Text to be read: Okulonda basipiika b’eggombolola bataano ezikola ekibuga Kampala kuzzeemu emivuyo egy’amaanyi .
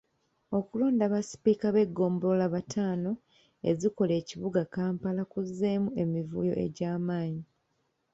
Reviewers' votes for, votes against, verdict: 2, 0, accepted